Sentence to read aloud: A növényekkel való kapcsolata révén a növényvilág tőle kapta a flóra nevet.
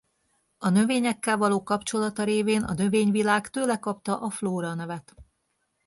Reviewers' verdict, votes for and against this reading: accepted, 2, 0